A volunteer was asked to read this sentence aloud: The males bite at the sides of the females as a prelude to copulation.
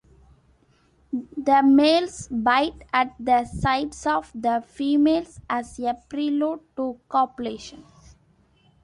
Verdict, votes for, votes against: accepted, 2, 0